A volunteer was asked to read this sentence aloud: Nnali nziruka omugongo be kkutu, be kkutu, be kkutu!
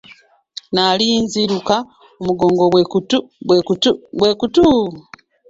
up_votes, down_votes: 1, 2